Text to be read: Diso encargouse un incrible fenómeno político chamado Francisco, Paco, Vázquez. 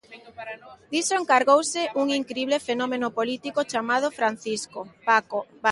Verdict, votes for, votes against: rejected, 0, 2